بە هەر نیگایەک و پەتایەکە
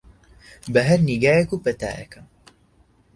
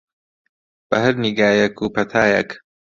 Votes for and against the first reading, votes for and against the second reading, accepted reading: 2, 0, 0, 2, first